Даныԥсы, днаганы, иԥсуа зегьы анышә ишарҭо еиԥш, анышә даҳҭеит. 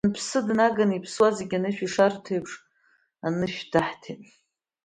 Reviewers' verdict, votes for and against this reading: accepted, 2, 0